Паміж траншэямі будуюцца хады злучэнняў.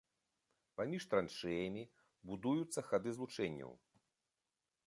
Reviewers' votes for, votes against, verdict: 3, 1, accepted